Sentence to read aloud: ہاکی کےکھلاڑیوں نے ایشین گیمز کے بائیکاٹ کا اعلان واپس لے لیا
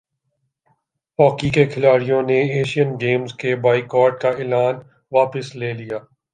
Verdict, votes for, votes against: accepted, 3, 0